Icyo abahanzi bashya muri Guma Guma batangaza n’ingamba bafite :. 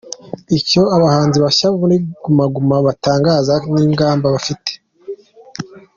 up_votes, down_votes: 2, 0